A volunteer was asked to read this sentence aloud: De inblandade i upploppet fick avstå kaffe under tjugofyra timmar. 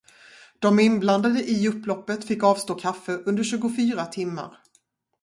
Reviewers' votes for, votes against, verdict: 0, 2, rejected